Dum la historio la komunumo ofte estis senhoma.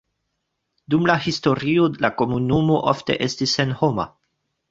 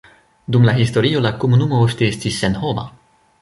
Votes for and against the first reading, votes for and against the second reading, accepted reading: 2, 1, 1, 2, first